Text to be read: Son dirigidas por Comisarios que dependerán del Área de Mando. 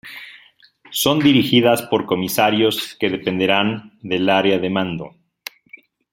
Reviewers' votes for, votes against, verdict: 2, 0, accepted